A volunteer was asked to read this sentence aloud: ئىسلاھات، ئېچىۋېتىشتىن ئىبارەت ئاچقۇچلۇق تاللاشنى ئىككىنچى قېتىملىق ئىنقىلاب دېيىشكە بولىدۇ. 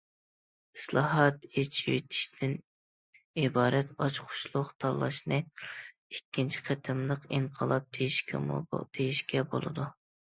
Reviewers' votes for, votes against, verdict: 0, 2, rejected